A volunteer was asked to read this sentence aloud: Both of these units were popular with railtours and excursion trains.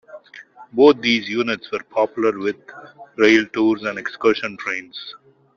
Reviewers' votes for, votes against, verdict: 1, 2, rejected